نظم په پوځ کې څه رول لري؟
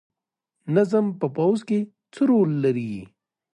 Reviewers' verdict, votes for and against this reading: rejected, 0, 2